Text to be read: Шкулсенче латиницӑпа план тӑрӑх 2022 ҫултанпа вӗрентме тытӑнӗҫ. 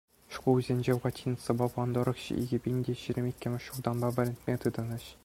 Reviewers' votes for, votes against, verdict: 0, 2, rejected